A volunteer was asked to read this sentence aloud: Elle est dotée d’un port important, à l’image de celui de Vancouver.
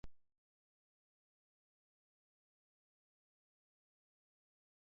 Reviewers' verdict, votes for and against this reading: rejected, 1, 2